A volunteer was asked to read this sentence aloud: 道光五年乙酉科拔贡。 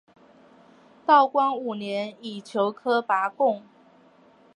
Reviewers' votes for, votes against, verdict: 2, 0, accepted